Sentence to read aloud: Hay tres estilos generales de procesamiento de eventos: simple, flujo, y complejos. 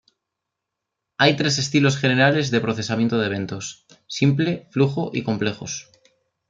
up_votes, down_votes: 2, 0